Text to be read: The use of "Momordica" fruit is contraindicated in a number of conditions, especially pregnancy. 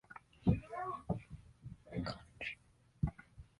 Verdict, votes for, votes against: rejected, 0, 2